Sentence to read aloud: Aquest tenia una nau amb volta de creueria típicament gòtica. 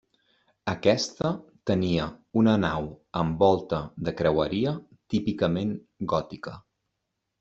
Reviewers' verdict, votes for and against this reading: rejected, 0, 2